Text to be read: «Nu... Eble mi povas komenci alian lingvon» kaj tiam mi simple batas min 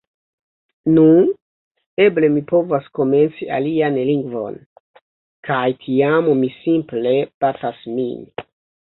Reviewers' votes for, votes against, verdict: 1, 2, rejected